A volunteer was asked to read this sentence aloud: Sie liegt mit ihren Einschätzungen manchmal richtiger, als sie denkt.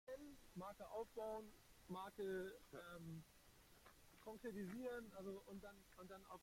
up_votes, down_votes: 0, 2